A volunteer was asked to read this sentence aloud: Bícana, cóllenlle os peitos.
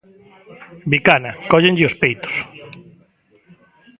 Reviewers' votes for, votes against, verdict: 0, 2, rejected